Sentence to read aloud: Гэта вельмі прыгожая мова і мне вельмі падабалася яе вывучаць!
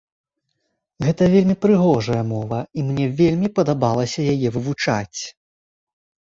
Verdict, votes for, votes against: accepted, 2, 0